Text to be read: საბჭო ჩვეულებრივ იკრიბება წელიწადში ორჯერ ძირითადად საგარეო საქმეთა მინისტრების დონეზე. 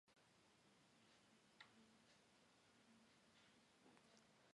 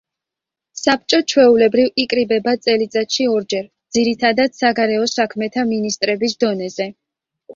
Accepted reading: second